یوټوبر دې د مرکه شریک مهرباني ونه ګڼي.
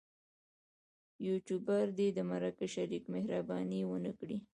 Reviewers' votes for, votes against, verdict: 0, 2, rejected